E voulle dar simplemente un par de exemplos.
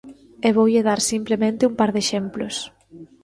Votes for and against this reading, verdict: 1, 2, rejected